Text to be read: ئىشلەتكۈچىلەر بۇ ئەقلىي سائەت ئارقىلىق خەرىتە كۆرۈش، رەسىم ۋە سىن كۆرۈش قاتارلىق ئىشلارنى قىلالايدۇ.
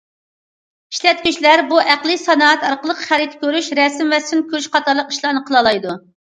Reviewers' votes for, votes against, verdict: 0, 2, rejected